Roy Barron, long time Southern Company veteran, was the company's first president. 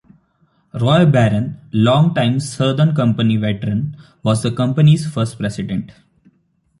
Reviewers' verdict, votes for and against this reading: accepted, 2, 0